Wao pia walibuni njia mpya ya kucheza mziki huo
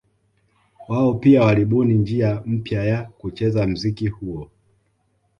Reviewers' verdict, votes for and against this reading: accepted, 2, 0